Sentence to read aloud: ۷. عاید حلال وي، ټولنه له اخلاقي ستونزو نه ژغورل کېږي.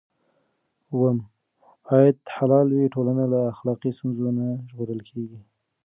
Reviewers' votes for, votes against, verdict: 0, 2, rejected